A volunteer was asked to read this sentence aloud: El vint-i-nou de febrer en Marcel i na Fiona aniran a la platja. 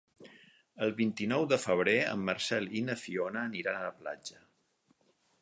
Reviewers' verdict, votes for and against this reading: accepted, 4, 0